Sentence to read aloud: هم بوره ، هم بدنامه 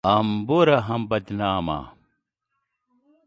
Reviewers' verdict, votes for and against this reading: accepted, 2, 0